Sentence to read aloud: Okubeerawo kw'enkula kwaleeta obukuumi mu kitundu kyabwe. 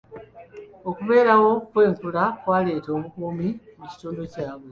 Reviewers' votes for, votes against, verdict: 2, 1, accepted